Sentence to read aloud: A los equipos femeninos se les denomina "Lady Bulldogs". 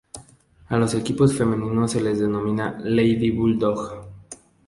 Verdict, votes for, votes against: rejected, 0, 2